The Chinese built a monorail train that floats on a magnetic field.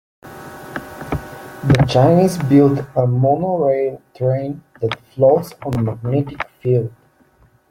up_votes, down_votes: 1, 2